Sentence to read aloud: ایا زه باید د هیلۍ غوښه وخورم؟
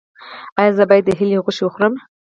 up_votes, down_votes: 2, 4